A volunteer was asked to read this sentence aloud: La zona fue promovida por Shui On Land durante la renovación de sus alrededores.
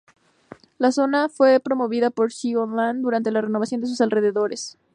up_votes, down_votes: 2, 0